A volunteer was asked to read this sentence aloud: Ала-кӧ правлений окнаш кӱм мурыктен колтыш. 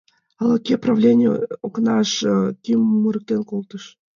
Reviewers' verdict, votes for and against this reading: accepted, 2, 0